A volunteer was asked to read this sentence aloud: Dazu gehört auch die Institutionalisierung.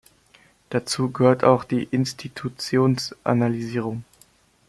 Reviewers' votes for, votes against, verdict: 0, 2, rejected